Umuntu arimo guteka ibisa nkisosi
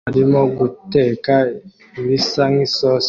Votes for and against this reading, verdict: 1, 2, rejected